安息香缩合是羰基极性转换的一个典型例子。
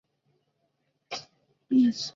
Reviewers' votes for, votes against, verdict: 0, 2, rejected